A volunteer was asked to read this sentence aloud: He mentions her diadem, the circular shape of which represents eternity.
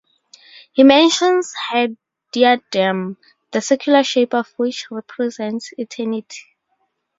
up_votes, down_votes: 2, 2